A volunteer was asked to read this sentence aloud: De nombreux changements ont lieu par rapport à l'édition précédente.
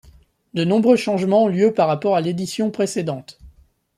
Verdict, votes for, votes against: accepted, 2, 0